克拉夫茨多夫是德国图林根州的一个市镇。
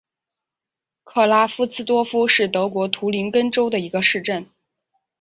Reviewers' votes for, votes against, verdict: 4, 0, accepted